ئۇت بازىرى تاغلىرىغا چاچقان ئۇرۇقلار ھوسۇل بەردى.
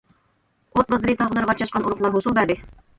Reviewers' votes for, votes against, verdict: 1, 2, rejected